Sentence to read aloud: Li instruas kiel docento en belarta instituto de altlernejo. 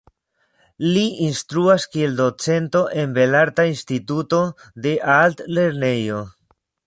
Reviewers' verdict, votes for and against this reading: accepted, 2, 0